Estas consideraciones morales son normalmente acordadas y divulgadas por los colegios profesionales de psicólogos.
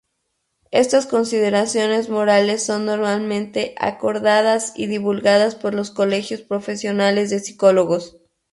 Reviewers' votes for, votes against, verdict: 0, 2, rejected